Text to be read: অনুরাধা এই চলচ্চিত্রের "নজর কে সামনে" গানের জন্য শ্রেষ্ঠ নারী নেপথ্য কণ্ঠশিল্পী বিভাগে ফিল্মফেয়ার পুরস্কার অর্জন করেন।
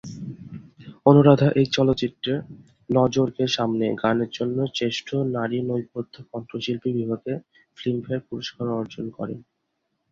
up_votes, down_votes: 2, 0